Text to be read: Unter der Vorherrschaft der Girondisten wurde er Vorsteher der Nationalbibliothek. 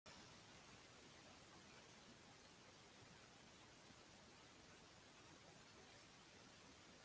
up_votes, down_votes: 0, 2